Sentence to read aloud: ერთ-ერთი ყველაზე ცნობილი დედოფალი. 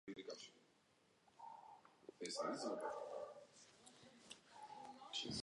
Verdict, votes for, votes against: rejected, 1, 2